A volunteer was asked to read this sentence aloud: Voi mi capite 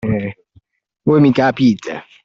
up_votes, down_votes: 1, 2